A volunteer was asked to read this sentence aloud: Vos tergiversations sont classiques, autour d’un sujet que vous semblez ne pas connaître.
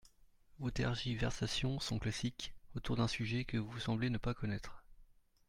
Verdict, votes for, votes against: accepted, 2, 0